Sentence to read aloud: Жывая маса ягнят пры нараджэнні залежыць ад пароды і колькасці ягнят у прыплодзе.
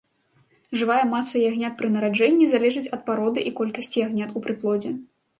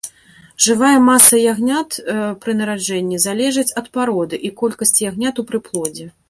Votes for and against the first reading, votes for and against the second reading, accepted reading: 2, 0, 0, 2, first